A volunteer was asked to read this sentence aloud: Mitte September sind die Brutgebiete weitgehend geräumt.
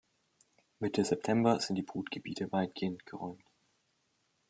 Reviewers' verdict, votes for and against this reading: accepted, 2, 0